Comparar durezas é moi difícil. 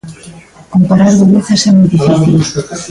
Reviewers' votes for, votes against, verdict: 1, 2, rejected